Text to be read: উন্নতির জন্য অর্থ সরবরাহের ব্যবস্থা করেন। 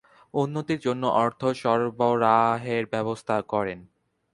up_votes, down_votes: 0, 2